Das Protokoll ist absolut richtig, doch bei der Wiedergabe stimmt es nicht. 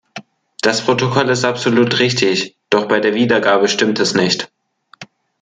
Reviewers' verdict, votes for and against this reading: accepted, 2, 1